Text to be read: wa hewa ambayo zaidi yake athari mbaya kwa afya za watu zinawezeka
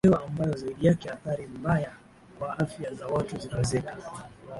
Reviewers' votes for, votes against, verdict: 6, 8, rejected